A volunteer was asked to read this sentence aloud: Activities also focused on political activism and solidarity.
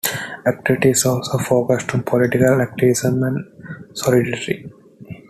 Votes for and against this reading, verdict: 0, 2, rejected